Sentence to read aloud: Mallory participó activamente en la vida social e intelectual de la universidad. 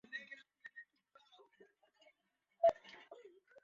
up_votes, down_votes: 0, 4